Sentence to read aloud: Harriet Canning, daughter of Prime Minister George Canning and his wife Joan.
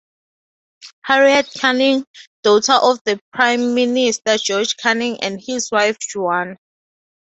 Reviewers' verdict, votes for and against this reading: rejected, 0, 2